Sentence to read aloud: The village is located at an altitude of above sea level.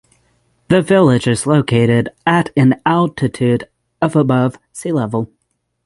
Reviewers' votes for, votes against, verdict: 3, 3, rejected